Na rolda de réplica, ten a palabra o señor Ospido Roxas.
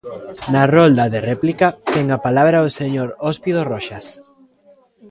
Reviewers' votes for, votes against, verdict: 1, 2, rejected